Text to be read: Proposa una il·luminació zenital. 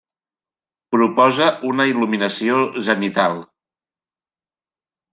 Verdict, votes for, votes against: accepted, 2, 0